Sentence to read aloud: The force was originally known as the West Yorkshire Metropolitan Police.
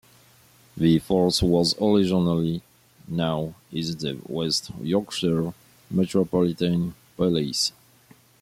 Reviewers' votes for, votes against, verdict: 1, 2, rejected